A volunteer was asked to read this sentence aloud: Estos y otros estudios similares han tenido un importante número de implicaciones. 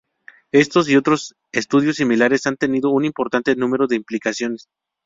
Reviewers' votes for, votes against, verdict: 0, 2, rejected